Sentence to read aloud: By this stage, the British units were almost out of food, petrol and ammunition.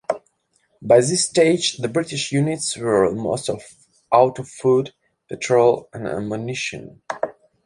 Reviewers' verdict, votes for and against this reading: rejected, 0, 2